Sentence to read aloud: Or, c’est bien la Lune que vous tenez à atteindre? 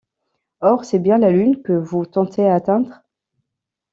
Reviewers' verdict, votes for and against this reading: rejected, 0, 2